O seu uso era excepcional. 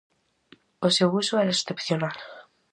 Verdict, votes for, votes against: accepted, 4, 0